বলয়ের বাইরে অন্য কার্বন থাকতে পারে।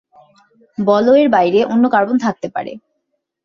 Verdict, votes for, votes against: accepted, 2, 0